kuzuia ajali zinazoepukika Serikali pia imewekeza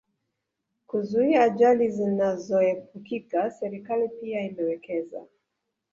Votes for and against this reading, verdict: 1, 2, rejected